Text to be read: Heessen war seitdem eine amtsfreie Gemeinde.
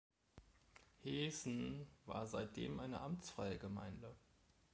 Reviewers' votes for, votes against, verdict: 2, 1, accepted